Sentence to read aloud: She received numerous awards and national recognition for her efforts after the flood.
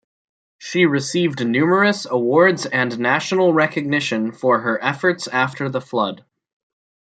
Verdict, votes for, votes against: accepted, 2, 0